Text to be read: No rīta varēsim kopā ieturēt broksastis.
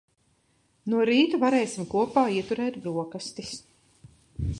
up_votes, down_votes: 2, 0